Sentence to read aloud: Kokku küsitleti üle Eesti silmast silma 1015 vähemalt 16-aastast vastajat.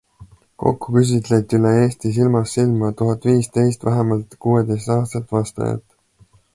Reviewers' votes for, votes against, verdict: 0, 2, rejected